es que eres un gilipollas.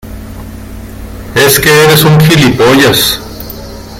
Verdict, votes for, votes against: accepted, 2, 0